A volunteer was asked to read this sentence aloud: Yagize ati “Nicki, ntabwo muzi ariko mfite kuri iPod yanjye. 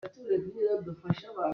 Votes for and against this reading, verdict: 0, 2, rejected